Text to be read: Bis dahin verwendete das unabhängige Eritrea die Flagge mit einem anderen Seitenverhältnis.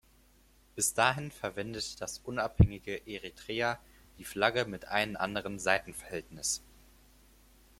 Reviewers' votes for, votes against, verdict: 2, 4, rejected